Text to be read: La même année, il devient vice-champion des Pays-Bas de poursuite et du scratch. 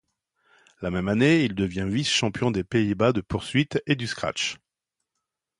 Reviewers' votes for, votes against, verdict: 2, 0, accepted